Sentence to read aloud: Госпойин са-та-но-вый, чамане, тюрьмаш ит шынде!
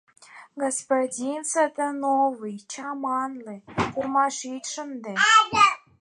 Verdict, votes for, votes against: accepted, 4, 2